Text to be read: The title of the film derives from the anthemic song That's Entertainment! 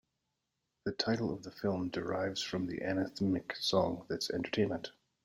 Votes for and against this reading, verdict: 0, 2, rejected